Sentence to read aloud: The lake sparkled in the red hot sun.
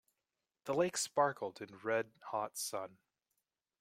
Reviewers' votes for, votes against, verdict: 1, 2, rejected